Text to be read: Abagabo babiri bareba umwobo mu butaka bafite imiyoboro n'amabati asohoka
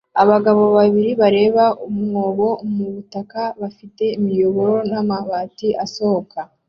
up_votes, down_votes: 2, 0